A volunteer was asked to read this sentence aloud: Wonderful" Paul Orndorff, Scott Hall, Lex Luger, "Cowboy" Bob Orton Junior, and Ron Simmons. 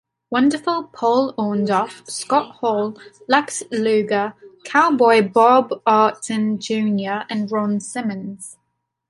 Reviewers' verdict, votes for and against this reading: accepted, 2, 1